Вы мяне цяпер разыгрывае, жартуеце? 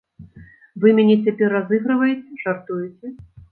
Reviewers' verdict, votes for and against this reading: rejected, 0, 2